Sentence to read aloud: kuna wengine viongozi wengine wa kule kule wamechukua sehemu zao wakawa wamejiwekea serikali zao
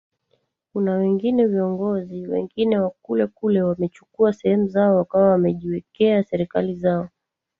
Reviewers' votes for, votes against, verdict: 1, 2, rejected